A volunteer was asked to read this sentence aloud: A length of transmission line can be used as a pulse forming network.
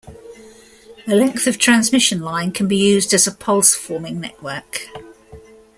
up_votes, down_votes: 0, 2